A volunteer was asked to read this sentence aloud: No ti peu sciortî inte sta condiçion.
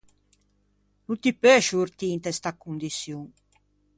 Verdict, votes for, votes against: accepted, 2, 0